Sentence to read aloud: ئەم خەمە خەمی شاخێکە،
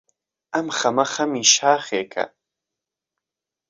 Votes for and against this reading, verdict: 2, 0, accepted